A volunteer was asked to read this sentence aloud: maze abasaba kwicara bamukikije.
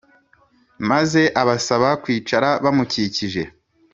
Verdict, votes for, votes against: accepted, 3, 0